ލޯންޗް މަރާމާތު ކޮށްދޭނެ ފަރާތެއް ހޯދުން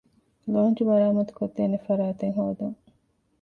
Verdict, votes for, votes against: accepted, 2, 0